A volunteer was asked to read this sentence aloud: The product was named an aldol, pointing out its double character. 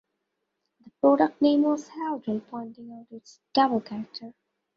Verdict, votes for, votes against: rejected, 0, 2